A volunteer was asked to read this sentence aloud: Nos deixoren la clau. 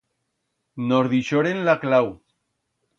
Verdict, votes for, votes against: accepted, 2, 0